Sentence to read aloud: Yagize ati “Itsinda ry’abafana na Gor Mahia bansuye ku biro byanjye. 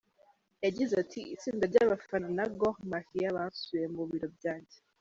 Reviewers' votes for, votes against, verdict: 1, 2, rejected